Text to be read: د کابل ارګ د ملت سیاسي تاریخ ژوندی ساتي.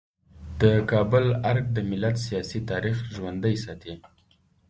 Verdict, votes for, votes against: rejected, 1, 2